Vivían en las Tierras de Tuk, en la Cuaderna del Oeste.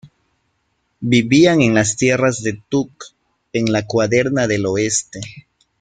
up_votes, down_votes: 2, 0